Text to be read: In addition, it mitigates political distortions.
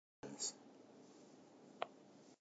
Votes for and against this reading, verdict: 0, 2, rejected